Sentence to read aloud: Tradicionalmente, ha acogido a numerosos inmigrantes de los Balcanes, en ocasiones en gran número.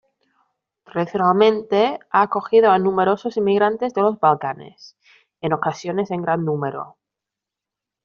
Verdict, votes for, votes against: rejected, 1, 2